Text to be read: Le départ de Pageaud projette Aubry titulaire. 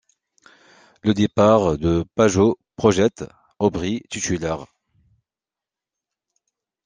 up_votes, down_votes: 2, 1